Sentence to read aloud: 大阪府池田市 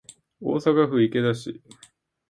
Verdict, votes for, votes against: accepted, 3, 0